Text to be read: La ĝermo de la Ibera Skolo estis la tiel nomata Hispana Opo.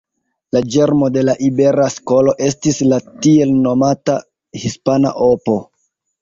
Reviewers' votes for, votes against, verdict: 1, 2, rejected